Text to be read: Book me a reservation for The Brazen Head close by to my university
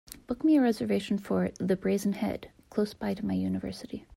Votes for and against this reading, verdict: 2, 0, accepted